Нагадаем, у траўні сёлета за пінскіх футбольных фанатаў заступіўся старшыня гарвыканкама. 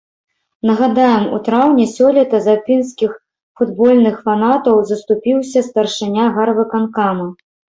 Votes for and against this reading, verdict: 3, 0, accepted